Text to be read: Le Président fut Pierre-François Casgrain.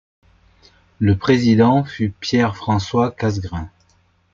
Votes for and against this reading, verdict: 2, 0, accepted